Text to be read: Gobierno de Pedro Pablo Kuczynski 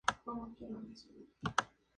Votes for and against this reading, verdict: 0, 2, rejected